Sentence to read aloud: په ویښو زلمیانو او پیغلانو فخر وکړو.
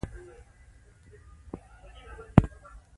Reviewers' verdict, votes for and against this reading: accepted, 2, 0